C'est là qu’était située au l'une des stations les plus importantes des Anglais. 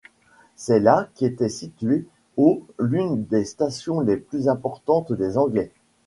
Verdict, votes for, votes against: accepted, 2, 0